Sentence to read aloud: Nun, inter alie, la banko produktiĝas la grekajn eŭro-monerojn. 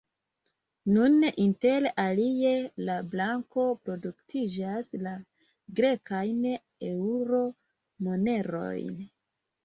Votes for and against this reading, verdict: 0, 2, rejected